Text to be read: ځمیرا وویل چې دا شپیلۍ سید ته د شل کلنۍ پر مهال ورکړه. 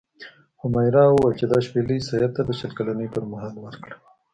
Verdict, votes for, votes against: rejected, 0, 2